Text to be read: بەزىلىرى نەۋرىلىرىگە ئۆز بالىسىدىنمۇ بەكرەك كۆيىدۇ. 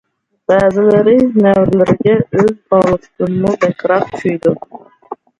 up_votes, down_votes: 0, 2